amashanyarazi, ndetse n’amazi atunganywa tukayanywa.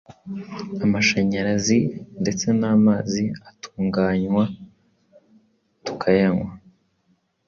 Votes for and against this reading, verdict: 2, 0, accepted